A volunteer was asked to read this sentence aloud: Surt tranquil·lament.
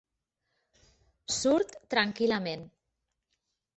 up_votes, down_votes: 4, 0